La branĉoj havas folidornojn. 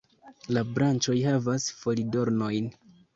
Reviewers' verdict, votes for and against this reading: accepted, 2, 0